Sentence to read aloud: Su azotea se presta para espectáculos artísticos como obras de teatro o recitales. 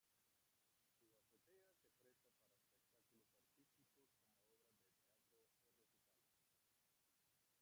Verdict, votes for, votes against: rejected, 1, 2